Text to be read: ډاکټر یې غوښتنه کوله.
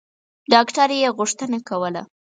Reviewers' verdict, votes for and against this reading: accepted, 4, 0